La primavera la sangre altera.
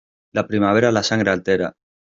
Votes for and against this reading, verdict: 2, 0, accepted